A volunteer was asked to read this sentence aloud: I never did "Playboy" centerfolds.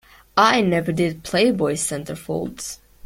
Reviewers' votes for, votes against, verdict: 2, 0, accepted